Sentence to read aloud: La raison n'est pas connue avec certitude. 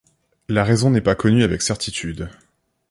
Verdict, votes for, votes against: accepted, 2, 0